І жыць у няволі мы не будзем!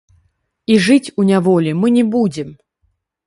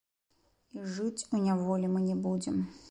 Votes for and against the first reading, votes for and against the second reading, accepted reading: 1, 2, 2, 1, second